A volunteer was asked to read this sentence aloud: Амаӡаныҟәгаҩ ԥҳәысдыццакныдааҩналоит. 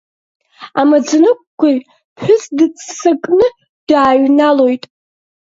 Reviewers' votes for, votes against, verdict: 1, 2, rejected